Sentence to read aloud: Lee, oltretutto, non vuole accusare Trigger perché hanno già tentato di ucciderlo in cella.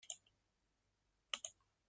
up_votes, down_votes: 0, 2